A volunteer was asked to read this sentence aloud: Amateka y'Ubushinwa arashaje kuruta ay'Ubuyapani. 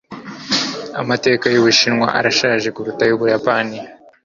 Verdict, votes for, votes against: accepted, 2, 0